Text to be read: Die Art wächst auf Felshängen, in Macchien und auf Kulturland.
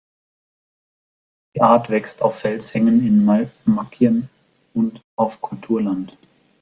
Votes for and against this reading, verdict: 0, 2, rejected